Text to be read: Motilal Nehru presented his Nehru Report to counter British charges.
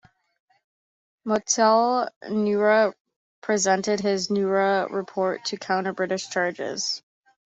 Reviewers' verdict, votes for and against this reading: accepted, 2, 1